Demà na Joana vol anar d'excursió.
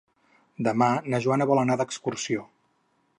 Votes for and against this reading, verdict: 2, 0, accepted